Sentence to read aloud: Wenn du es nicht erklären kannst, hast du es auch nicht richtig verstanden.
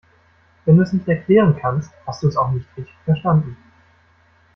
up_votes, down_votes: 2, 0